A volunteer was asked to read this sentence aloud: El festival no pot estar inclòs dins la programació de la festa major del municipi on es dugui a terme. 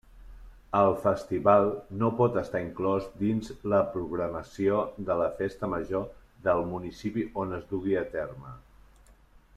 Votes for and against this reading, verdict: 0, 2, rejected